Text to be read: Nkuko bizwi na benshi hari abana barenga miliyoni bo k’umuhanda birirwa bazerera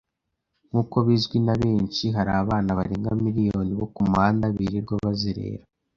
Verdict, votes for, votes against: accepted, 2, 0